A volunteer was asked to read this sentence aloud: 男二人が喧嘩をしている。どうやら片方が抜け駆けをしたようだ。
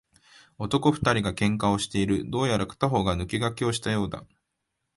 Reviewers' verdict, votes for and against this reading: accepted, 2, 0